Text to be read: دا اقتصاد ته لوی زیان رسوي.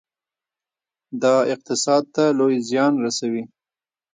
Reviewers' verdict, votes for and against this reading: rejected, 1, 2